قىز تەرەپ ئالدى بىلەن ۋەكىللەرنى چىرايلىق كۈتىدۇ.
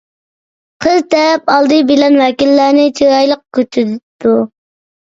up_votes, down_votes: 0, 2